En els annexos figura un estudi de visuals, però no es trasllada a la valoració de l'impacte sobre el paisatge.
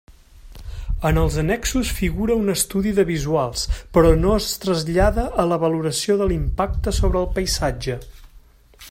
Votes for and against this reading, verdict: 2, 0, accepted